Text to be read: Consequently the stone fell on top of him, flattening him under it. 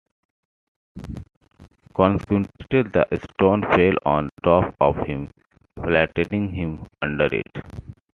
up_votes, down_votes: 2, 0